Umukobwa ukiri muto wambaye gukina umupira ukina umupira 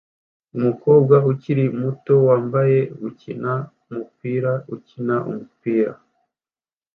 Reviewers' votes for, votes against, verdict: 2, 0, accepted